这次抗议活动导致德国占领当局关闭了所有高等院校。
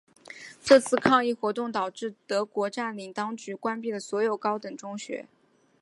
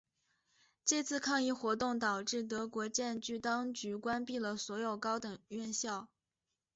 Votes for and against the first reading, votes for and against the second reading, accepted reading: 1, 5, 4, 1, second